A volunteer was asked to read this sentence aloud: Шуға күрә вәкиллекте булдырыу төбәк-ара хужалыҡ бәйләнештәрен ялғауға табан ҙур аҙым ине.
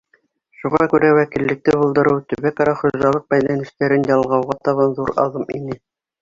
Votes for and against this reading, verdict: 2, 0, accepted